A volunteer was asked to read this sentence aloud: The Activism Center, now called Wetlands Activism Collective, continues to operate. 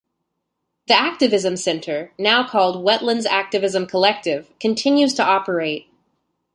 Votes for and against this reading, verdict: 2, 0, accepted